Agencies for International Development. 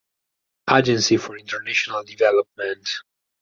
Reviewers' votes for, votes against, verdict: 2, 4, rejected